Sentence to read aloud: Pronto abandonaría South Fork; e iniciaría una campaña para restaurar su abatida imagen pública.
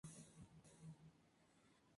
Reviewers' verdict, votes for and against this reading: rejected, 0, 4